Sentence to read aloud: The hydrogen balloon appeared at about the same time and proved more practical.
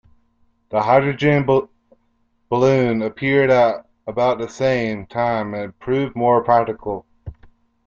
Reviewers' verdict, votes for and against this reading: rejected, 0, 2